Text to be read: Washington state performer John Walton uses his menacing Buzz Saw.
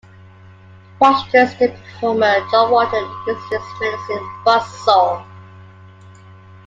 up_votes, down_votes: 2, 1